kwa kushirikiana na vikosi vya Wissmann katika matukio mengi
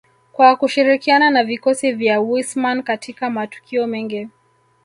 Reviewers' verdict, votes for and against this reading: accepted, 2, 0